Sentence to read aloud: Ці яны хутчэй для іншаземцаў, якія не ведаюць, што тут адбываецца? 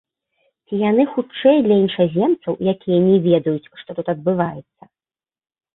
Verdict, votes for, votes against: rejected, 0, 2